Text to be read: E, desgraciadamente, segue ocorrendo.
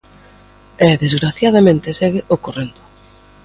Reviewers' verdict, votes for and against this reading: accepted, 2, 0